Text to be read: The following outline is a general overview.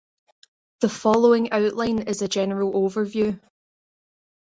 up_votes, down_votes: 3, 0